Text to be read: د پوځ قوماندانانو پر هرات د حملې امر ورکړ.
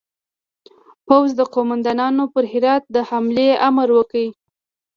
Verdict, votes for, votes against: accepted, 2, 0